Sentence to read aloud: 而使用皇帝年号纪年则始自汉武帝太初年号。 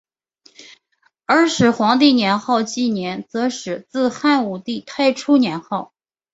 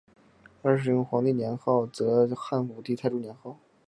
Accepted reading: first